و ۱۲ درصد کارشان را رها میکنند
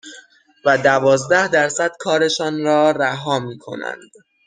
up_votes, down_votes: 0, 2